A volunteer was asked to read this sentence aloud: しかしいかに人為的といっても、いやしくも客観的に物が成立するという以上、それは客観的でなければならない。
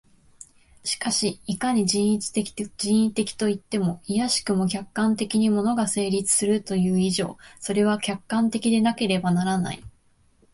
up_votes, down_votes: 0, 2